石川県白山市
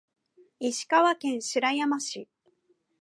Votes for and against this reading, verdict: 3, 1, accepted